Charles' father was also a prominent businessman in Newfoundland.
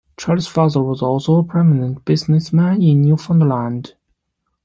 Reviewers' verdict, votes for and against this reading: accepted, 2, 0